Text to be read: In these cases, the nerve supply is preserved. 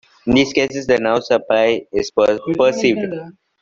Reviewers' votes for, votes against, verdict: 1, 2, rejected